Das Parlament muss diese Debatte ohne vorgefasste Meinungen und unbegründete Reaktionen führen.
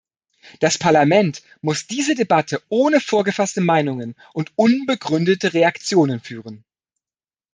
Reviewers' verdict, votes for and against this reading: accepted, 2, 0